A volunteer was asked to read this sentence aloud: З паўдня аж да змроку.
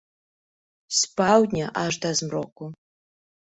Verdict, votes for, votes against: rejected, 1, 2